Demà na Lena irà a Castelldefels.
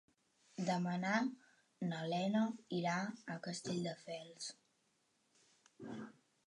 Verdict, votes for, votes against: rejected, 0, 2